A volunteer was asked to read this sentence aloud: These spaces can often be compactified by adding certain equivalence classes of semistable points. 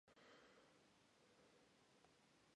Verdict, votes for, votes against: rejected, 0, 2